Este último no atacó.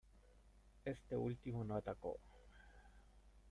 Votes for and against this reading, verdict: 0, 2, rejected